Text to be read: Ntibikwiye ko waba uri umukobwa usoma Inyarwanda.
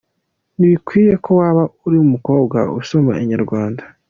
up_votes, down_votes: 2, 0